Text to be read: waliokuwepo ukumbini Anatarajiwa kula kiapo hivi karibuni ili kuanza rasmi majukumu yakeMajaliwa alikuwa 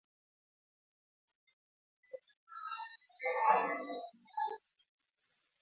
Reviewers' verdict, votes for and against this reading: rejected, 0, 2